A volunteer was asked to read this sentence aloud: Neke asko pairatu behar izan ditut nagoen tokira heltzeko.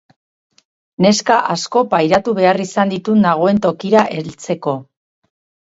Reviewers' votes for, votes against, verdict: 0, 4, rejected